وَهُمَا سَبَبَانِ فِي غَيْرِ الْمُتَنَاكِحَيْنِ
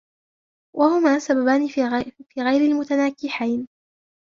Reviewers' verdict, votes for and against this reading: rejected, 1, 2